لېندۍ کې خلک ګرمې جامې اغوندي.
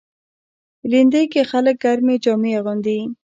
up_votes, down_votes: 1, 2